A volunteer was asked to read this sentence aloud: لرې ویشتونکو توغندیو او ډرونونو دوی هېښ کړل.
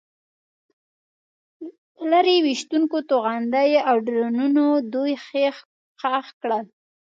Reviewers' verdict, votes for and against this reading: rejected, 0, 2